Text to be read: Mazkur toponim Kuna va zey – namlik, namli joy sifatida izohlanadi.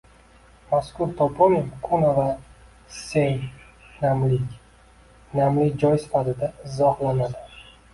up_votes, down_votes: 1, 2